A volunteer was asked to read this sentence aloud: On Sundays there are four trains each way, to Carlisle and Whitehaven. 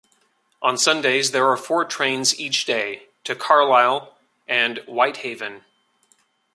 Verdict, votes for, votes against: rejected, 0, 2